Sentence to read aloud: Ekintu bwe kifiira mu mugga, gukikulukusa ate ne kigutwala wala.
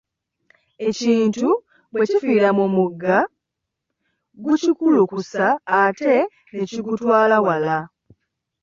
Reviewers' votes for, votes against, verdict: 2, 0, accepted